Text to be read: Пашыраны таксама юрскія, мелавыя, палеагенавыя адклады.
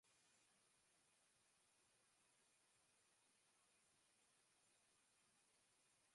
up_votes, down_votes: 0, 2